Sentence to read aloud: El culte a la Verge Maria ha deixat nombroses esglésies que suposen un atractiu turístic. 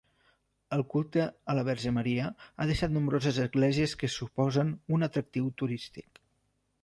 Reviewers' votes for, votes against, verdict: 3, 0, accepted